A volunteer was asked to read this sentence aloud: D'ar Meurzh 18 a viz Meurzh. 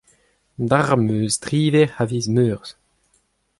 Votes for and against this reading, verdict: 0, 2, rejected